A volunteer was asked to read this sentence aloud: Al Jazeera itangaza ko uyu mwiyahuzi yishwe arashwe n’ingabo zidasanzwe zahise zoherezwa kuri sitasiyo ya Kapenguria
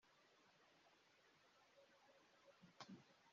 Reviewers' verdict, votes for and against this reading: rejected, 0, 2